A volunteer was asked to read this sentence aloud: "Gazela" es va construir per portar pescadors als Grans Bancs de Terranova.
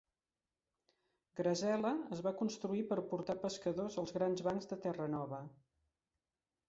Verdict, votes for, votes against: rejected, 0, 2